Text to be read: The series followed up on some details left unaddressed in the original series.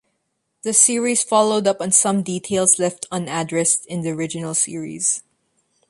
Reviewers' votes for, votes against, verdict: 2, 0, accepted